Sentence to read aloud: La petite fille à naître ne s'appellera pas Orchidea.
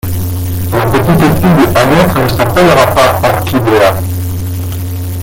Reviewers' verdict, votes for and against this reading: rejected, 0, 2